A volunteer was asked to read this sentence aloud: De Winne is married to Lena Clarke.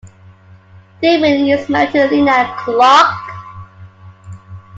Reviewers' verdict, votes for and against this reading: rejected, 0, 2